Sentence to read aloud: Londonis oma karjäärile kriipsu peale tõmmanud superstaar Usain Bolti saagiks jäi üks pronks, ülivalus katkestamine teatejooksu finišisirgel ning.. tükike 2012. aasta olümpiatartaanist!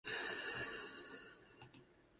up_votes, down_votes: 0, 2